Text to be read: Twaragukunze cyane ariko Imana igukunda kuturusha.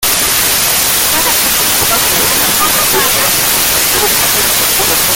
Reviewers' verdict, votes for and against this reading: rejected, 0, 2